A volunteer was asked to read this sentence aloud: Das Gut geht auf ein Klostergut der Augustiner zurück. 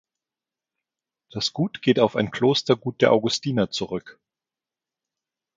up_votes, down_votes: 2, 0